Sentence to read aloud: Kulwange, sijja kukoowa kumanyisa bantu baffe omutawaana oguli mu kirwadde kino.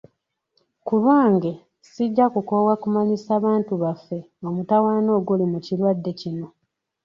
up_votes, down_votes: 3, 0